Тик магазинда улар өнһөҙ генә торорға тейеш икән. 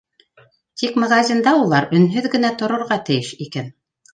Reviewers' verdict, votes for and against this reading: accepted, 2, 0